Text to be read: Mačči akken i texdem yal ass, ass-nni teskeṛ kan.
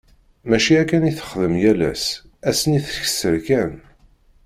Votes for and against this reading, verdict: 2, 0, accepted